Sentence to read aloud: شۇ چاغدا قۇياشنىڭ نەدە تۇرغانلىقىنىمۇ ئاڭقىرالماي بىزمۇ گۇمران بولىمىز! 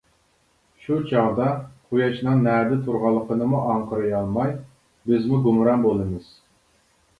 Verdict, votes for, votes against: rejected, 0, 2